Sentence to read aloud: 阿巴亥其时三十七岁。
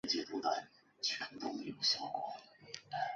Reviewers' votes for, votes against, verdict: 1, 2, rejected